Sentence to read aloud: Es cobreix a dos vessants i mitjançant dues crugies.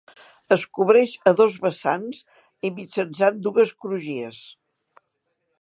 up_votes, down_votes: 3, 0